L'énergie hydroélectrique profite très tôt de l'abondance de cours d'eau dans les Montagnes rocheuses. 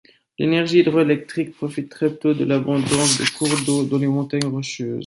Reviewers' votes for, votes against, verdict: 2, 1, accepted